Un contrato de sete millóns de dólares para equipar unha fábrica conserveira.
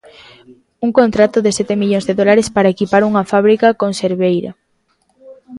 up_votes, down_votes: 6, 0